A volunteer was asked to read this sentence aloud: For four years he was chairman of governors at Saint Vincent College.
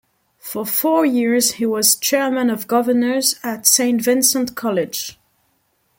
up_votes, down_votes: 2, 0